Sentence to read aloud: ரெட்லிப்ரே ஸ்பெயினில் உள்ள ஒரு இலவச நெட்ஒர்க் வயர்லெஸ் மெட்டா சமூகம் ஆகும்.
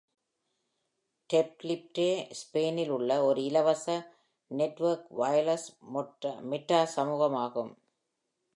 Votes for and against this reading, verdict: 0, 2, rejected